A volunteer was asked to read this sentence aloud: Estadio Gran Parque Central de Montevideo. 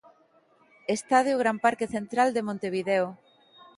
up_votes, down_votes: 2, 0